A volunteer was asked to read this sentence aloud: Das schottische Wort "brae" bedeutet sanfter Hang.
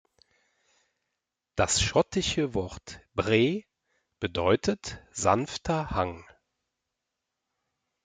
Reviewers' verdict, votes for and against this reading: accepted, 3, 0